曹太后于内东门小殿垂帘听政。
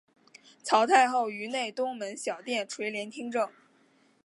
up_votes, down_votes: 2, 1